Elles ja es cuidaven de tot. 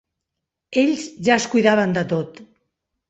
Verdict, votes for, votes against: rejected, 0, 3